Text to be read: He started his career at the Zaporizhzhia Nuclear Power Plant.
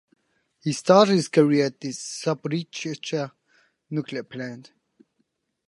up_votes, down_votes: 0, 2